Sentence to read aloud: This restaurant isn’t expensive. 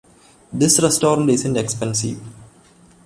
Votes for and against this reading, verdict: 1, 2, rejected